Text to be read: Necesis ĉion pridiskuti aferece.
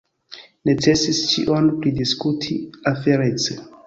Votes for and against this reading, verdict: 2, 1, accepted